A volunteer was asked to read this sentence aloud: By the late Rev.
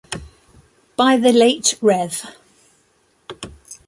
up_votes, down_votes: 2, 0